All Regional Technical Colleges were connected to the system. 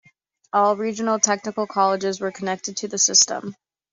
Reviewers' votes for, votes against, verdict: 2, 0, accepted